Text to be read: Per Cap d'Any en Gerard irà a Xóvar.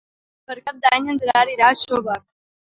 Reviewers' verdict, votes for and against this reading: accepted, 3, 0